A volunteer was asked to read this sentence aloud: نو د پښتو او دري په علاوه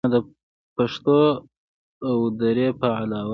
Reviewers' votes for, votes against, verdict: 1, 2, rejected